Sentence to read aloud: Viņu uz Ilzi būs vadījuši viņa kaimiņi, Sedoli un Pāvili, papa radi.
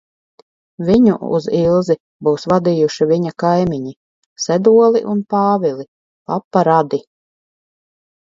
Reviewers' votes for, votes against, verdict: 4, 0, accepted